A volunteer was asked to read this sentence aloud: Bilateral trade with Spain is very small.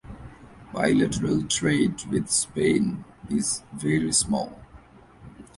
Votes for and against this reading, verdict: 2, 1, accepted